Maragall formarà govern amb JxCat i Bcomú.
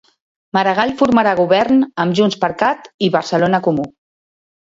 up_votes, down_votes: 0, 2